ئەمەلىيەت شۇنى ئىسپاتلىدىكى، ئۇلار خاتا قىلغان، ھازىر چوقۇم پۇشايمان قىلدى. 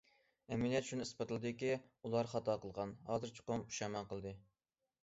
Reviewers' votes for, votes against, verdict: 2, 0, accepted